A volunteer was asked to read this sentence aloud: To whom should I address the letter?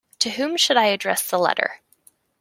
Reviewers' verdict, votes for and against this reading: accepted, 2, 0